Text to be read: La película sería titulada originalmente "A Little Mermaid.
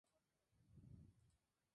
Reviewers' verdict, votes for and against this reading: rejected, 0, 2